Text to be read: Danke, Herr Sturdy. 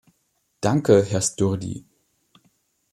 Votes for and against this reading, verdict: 2, 0, accepted